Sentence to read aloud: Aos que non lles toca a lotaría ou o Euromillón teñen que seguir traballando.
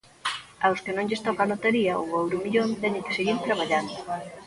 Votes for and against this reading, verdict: 1, 2, rejected